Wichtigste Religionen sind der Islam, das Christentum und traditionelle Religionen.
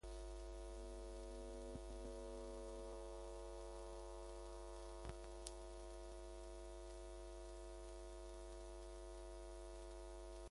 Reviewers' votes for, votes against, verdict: 0, 2, rejected